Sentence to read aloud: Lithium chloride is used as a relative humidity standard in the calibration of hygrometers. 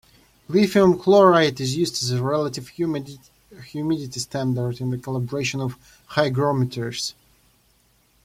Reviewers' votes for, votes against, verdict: 0, 2, rejected